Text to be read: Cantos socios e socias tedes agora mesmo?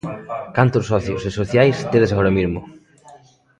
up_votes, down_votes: 0, 2